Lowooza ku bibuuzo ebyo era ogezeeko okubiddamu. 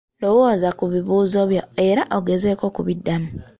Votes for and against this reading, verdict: 2, 1, accepted